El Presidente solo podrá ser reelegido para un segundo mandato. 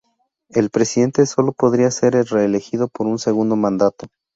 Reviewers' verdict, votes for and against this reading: accepted, 2, 0